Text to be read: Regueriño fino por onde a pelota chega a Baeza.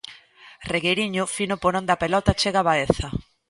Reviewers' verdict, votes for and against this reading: accepted, 2, 0